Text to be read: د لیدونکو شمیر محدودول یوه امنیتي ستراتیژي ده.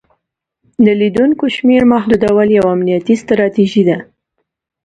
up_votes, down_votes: 2, 0